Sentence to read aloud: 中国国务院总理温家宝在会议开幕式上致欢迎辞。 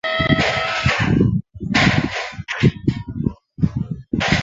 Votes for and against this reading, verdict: 0, 2, rejected